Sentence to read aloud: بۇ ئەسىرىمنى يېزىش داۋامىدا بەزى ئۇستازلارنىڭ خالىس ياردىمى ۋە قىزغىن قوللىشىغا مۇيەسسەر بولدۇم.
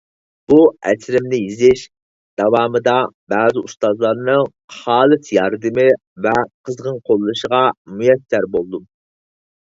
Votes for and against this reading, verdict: 4, 0, accepted